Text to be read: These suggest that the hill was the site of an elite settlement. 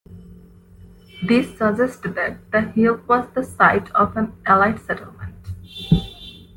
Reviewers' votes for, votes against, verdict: 0, 2, rejected